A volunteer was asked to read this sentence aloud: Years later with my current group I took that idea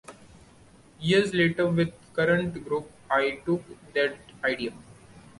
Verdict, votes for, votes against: rejected, 1, 2